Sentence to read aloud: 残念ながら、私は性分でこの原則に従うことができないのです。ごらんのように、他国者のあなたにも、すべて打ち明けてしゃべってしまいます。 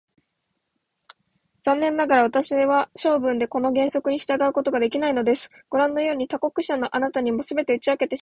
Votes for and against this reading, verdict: 0, 2, rejected